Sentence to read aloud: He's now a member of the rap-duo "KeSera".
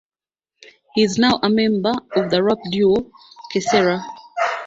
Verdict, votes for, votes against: accepted, 2, 1